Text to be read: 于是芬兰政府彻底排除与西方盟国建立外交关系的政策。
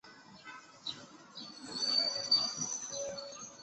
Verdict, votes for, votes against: rejected, 0, 4